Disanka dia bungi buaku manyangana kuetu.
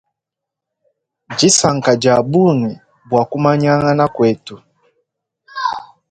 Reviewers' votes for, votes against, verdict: 1, 3, rejected